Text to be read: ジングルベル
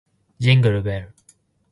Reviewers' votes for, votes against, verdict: 2, 2, rejected